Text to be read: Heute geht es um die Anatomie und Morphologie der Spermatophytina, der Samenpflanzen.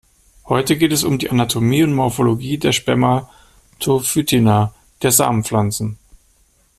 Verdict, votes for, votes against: rejected, 1, 2